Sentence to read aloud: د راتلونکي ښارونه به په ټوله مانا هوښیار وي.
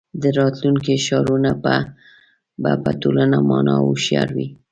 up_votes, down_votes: 0, 2